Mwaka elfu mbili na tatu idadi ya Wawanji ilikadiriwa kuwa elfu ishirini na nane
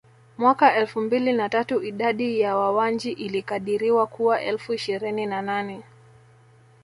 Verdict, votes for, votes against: accepted, 2, 0